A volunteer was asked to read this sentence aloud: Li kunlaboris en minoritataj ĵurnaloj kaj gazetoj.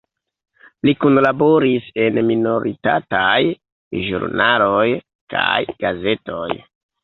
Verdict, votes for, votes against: rejected, 1, 2